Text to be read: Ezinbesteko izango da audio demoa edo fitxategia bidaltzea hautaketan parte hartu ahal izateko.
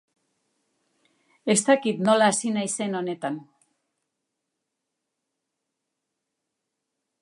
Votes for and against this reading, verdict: 0, 2, rejected